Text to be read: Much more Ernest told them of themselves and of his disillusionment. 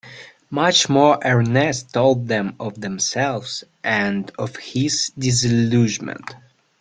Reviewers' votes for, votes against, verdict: 0, 2, rejected